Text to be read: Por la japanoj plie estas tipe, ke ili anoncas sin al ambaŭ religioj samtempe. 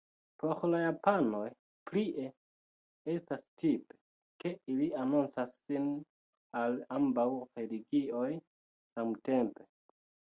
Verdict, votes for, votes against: rejected, 1, 2